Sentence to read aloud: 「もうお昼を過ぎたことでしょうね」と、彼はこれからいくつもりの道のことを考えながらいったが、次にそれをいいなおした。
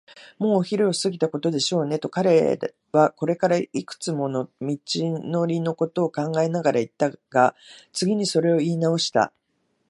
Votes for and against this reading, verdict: 1, 2, rejected